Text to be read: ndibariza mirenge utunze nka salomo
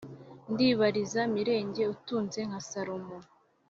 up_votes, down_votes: 2, 0